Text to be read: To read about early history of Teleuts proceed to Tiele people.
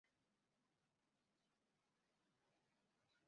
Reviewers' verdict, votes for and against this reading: rejected, 0, 2